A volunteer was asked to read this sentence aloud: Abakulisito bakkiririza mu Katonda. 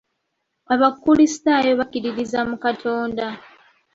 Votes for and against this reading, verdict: 1, 2, rejected